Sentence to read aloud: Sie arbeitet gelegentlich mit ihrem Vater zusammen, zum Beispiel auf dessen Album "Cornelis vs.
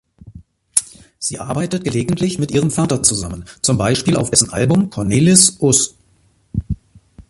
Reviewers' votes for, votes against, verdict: 0, 3, rejected